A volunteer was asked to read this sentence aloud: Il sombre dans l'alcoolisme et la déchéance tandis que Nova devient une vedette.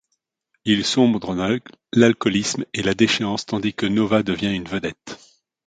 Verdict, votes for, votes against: rejected, 1, 2